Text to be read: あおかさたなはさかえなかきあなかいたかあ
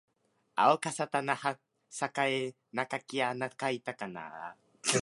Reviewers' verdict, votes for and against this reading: accepted, 2, 1